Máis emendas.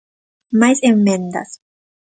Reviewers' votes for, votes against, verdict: 0, 2, rejected